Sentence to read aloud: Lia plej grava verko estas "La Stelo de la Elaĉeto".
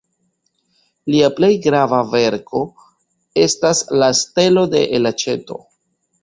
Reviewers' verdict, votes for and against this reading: accepted, 2, 0